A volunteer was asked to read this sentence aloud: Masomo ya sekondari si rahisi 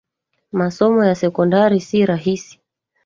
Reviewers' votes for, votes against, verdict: 1, 2, rejected